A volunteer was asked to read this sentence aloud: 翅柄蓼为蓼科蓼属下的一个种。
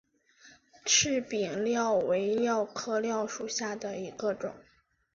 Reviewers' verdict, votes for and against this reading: accepted, 2, 0